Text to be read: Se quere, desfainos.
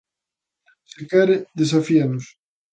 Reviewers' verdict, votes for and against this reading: rejected, 0, 2